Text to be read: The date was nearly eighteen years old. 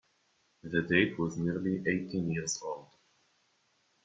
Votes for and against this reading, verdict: 1, 2, rejected